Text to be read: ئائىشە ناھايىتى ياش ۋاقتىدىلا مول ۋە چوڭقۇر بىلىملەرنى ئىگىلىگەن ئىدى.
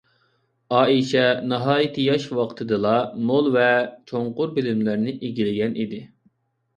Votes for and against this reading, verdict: 2, 0, accepted